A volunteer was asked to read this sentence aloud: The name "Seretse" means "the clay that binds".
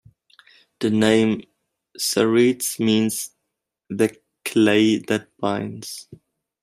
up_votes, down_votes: 2, 0